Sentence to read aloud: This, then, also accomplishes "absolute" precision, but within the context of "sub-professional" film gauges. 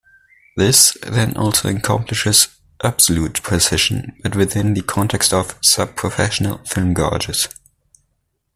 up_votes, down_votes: 2, 0